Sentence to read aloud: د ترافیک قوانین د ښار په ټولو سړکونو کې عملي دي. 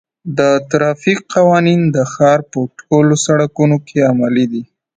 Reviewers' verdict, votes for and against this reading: accepted, 2, 1